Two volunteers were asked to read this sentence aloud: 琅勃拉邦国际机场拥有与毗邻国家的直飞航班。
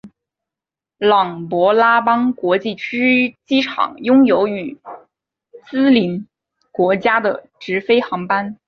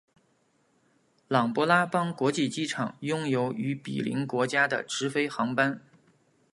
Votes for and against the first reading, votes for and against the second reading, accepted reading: 0, 2, 2, 0, second